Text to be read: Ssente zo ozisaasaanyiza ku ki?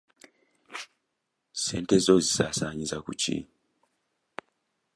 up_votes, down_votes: 1, 2